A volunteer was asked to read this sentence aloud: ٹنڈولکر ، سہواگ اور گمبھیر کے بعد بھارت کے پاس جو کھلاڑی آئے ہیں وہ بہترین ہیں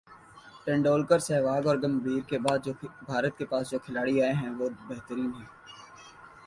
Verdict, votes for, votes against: accepted, 3, 0